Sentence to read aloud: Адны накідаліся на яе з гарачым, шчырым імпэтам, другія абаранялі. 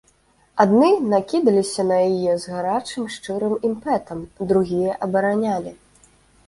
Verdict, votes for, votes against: accepted, 2, 0